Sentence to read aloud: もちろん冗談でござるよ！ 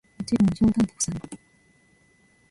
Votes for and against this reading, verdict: 1, 2, rejected